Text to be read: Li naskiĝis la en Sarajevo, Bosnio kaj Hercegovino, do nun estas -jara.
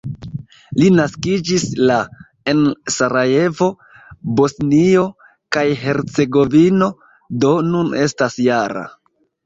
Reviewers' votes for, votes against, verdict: 1, 2, rejected